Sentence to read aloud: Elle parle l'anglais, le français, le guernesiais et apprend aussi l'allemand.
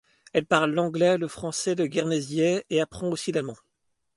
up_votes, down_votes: 2, 1